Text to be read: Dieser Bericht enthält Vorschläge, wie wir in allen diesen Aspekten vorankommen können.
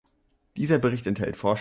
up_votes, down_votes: 0, 3